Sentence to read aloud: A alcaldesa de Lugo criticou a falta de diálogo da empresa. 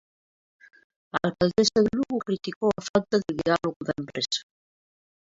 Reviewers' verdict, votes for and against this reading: rejected, 1, 2